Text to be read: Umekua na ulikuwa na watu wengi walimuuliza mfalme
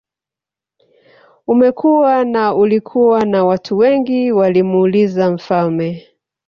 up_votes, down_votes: 0, 2